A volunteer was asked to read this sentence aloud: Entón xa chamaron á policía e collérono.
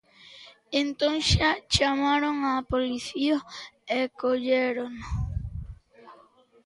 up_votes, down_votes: 2, 0